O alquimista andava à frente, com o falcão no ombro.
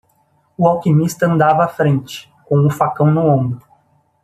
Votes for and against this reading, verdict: 1, 2, rejected